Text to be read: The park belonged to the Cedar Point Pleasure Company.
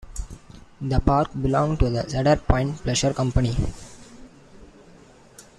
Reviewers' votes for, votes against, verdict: 2, 1, accepted